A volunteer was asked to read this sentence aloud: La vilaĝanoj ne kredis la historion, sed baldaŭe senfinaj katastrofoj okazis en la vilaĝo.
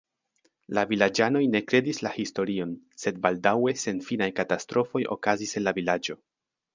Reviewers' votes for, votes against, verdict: 2, 0, accepted